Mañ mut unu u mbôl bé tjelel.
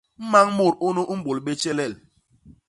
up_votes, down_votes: 2, 0